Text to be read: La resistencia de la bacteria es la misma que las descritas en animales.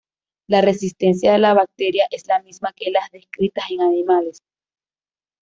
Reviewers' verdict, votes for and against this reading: accepted, 2, 0